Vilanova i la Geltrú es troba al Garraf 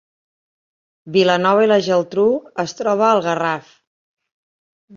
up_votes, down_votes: 4, 0